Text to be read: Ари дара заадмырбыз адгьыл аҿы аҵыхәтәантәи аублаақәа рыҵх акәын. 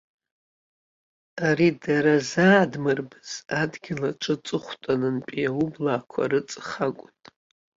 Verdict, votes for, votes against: rejected, 1, 2